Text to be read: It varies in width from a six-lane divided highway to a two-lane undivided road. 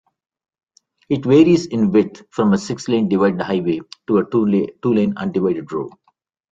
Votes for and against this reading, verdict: 0, 2, rejected